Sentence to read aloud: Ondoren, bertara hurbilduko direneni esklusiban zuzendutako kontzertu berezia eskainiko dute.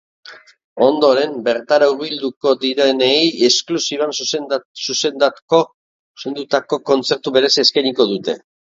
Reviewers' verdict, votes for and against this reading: rejected, 0, 2